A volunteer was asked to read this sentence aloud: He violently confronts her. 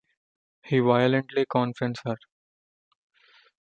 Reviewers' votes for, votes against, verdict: 2, 0, accepted